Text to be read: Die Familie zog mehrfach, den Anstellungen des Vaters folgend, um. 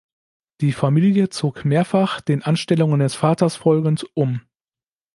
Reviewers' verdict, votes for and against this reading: accepted, 2, 0